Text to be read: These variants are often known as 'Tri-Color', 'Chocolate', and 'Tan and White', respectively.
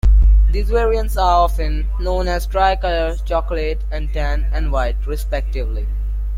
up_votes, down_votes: 2, 0